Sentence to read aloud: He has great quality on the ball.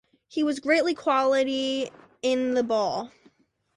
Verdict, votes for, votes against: rejected, 0, 2